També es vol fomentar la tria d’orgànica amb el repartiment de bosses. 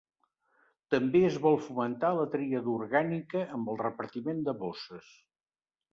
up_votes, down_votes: 2, 0